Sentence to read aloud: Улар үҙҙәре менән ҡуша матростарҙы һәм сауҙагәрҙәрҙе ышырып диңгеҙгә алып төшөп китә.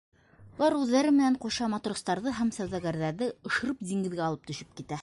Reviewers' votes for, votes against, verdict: 1, 2, rejected